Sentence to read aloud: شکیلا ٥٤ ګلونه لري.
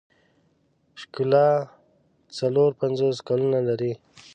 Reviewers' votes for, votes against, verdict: 0, 2, rejected